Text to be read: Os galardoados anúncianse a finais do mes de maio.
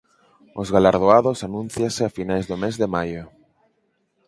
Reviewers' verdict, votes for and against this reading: accepted, 4, 0